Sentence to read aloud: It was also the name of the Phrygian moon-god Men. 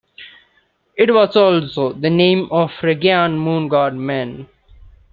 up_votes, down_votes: 0, 2